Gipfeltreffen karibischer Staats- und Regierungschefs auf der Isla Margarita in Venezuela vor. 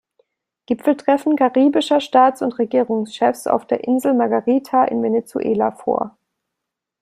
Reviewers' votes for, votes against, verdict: 0, 2, rejected